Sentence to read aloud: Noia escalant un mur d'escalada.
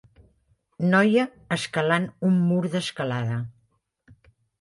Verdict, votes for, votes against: accepted, 3, 0